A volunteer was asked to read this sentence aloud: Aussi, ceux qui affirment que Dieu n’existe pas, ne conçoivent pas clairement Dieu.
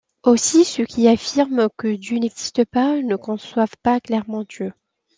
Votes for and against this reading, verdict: 2, 0, accepted